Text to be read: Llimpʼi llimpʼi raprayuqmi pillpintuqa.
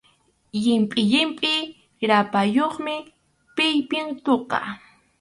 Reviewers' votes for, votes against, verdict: 2, 2, rejected